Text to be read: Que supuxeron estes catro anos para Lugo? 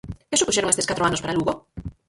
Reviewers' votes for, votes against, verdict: 0, 4, rejected